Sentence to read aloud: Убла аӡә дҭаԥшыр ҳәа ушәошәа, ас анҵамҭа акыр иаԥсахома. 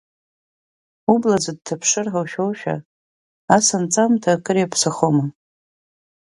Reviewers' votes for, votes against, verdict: 5, 0, accepted